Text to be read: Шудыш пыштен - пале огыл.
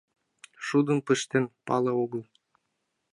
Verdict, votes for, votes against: rejected, 0, 2